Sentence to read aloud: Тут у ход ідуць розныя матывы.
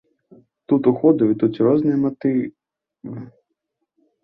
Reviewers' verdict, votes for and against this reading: rejected, 0, 2